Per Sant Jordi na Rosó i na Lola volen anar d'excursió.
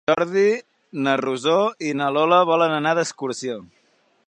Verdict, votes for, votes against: rejected, 0, 4